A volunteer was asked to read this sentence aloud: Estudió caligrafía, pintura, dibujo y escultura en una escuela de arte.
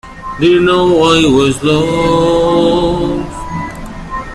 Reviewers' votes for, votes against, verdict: 1, 2, rejected